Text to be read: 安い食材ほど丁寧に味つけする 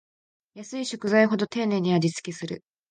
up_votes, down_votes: 2, 0